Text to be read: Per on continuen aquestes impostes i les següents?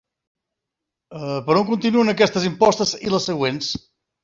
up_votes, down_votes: 1, 2